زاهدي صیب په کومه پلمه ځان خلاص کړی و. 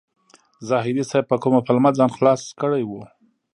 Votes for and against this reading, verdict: 2, 0, accepted